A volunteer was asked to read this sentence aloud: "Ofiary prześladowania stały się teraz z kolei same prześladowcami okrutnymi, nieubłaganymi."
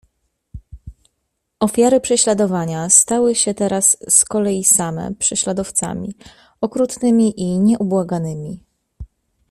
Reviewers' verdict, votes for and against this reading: rejected, 0, 2